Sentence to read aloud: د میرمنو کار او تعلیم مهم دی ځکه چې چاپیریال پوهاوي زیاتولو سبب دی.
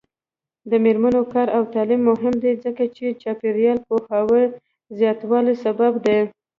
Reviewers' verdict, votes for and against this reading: accepted, 2, 1